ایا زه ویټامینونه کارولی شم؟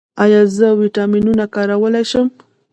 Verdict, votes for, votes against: accepted, 2, 1